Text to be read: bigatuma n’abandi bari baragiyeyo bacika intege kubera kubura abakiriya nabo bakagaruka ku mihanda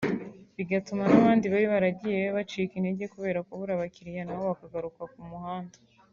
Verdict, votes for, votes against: rejected, 1, 2